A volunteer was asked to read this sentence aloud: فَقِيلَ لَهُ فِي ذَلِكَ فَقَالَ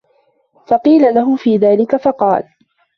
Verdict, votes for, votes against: accepted, 2, 0